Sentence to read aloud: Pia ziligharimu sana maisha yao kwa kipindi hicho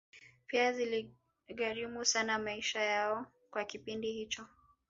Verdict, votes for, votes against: rejected, 1, 2